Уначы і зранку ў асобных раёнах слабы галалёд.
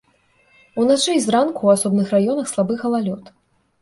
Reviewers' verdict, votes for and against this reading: accepted, 3, 0